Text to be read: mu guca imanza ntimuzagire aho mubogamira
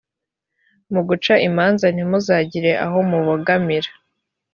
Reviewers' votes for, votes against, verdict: 2, 0, accepted